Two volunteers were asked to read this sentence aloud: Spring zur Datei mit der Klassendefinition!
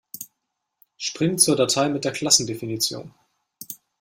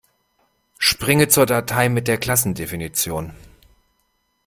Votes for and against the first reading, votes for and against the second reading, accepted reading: 2, 0, 0, 2, first